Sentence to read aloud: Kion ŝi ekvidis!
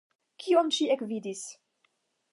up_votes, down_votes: 5, 0